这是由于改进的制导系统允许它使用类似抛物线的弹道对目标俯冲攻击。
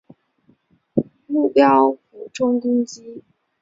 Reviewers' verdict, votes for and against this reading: rejected, 0, 2